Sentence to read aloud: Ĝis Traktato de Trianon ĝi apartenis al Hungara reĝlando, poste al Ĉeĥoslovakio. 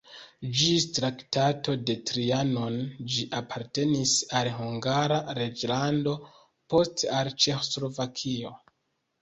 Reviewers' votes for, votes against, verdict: 1, 2, rejected